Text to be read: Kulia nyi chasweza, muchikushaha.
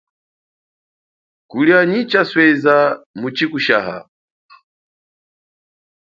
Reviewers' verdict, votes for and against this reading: accepted, 2, 0